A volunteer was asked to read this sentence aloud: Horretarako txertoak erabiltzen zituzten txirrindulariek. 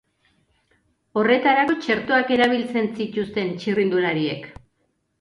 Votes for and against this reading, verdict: 3, 0, accepted